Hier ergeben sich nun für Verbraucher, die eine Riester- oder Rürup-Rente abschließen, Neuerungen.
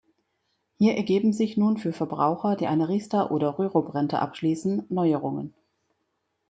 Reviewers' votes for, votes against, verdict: 2, 0, accepted